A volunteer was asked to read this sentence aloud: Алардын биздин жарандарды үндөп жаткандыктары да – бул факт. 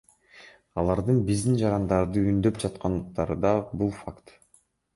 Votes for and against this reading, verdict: 3, 2, accepted